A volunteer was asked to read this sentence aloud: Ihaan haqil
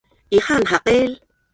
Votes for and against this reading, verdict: 1, 4, rejected